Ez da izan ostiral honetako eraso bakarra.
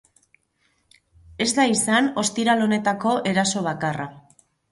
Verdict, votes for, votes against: rejected, 2, 4